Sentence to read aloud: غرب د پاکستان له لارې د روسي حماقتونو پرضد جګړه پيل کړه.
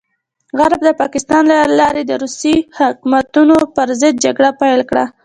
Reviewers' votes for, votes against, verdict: 2, 0, accepted